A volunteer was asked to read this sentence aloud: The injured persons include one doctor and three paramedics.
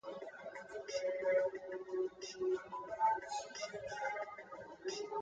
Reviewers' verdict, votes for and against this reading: rejected, 0, 2